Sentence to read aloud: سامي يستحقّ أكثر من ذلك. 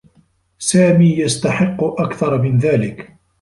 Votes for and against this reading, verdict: 2, 1, accepted